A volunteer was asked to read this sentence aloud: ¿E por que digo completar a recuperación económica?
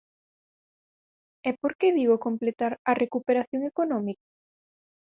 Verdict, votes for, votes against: rejected, 0, 4